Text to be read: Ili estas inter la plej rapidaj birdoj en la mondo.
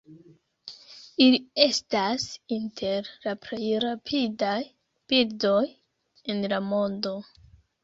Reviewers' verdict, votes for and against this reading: accepted, 2, 0